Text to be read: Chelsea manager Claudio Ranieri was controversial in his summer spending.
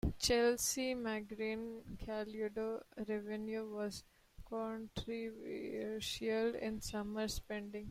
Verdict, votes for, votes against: rejected, 0, 2